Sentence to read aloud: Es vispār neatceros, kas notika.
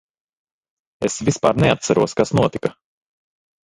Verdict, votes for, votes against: rejected, 1, 2